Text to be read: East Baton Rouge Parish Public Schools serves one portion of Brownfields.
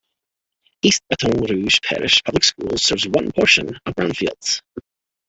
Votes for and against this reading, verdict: 1, 3, rejected